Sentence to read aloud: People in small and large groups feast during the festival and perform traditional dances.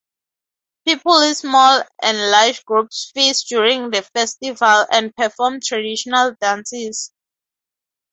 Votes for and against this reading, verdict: 0, 2, rejected